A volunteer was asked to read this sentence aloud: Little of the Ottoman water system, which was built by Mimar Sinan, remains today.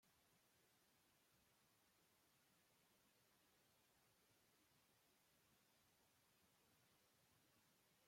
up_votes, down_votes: 0, 2